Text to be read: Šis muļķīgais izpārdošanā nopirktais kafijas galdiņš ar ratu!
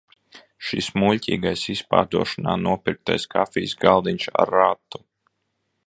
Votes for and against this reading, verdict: 2, 0, accepted